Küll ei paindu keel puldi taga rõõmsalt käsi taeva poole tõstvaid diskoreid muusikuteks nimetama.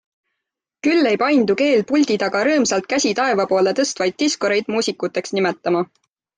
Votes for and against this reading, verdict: 2, 0, accepted